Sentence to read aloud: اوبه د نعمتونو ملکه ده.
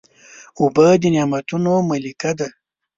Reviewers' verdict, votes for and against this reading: accepted, 2, 0